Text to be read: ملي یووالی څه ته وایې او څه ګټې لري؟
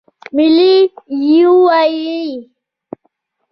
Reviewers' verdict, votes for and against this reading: accepted, 2, 0